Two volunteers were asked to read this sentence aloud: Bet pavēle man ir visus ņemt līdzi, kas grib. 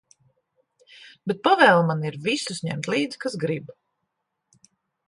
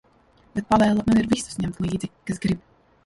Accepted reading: first